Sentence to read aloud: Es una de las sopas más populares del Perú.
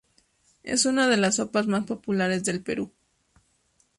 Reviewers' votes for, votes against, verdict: 2, 2, rejected